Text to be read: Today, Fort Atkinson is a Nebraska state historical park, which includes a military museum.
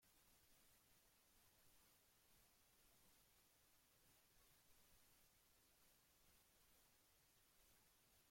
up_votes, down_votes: 0, 2